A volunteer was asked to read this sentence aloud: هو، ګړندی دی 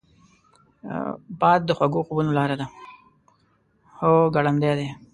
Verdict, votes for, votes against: rejected, 1, 2